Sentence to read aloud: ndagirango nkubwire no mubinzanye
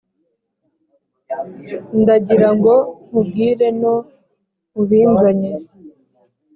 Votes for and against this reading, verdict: 4, 0, accepted